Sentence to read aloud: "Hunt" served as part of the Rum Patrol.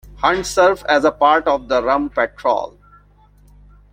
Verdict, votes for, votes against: rejected, 0, 2